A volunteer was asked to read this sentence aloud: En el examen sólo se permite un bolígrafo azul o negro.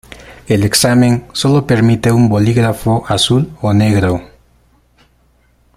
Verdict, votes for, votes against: rejected, 0, 2